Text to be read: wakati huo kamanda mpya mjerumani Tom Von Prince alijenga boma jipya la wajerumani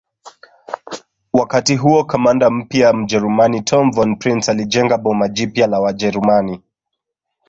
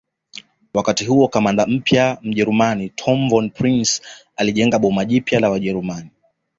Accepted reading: second